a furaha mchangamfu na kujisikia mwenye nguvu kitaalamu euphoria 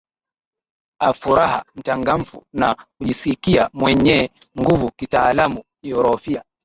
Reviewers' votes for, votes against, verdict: 2, 2, rejected